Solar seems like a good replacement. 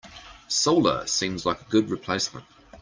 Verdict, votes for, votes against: accepted, 2, 0